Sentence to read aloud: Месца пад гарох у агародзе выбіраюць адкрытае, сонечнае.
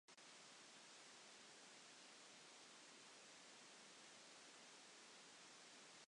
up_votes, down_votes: 0, 2